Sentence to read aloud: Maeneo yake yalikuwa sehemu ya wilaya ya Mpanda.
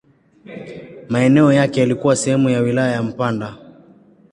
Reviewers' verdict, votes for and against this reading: accepted, 2, 0